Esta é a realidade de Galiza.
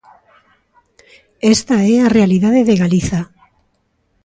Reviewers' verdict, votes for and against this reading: accepted, 2, 0